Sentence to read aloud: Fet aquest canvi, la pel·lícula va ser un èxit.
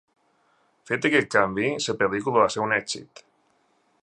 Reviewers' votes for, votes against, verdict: 2, 1, accepted